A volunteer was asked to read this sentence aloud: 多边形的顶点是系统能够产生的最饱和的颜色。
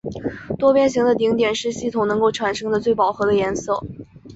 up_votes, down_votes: 7, 0